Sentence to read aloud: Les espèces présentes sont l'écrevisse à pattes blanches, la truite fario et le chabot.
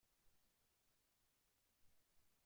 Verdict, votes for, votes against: rejected, 0, 2